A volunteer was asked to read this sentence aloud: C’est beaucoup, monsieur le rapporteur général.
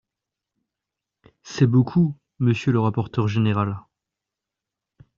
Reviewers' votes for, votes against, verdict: 2, 0, accepted